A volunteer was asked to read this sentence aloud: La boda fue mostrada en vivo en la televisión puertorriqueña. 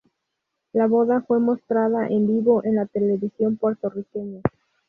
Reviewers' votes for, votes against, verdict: 0, 2, rejected